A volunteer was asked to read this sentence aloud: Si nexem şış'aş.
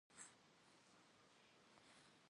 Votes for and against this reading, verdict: 2, 0, accepted